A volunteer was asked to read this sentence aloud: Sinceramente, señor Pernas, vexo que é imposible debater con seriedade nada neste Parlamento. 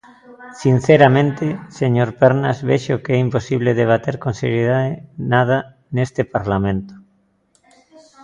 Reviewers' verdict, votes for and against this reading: rejected, 0, 2